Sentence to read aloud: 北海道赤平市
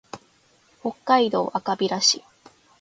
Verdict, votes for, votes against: accepted, 2, 0